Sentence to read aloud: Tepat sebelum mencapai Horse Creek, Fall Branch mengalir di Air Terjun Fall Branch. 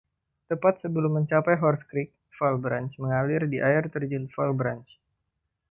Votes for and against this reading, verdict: 2, 0, accepted